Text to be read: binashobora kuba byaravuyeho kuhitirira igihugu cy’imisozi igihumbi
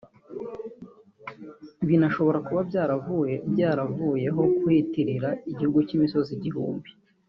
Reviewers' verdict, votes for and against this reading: rejected, 1, 2